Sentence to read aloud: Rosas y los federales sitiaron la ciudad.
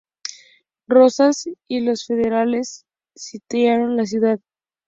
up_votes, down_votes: 2, 0